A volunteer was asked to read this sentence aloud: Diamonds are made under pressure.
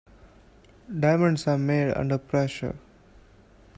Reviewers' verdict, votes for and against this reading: accepted, 2, 0